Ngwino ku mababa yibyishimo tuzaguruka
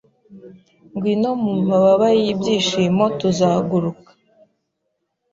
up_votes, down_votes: 1, 2